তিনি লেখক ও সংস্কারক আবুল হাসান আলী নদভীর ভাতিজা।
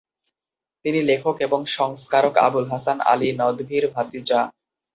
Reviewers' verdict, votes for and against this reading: rejected, 0, 2